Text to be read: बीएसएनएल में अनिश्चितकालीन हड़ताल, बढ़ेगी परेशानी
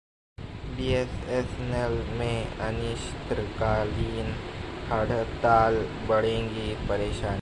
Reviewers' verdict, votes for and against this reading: rejected, 0, 2